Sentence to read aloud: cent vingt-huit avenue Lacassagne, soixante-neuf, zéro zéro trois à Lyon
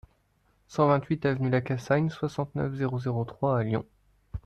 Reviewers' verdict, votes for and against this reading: accepted, 2, 0